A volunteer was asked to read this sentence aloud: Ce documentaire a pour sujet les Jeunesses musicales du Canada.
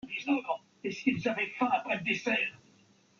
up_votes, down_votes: 0, 2